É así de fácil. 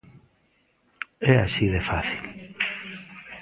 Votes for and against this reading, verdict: 2, 0, accepted